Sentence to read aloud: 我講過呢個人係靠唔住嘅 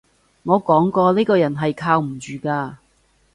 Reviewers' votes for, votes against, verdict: 1, 2, rejected